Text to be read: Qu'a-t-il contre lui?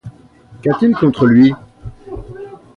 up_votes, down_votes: 2, 0